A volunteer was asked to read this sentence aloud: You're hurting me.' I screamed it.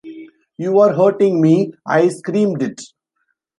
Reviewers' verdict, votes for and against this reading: rejected, 0, 2